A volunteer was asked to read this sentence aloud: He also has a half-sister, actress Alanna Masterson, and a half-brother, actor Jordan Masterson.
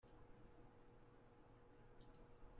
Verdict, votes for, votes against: rejected, 0, 2